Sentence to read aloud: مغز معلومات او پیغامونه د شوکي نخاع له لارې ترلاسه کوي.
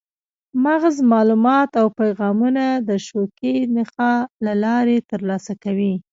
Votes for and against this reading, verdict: 0, 2, rejected